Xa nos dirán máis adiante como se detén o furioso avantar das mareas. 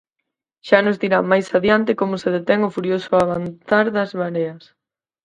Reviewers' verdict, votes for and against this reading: rejected, 2, 4